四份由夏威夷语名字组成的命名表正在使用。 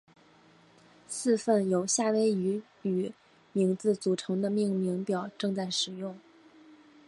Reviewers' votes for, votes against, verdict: 2, 0, accepted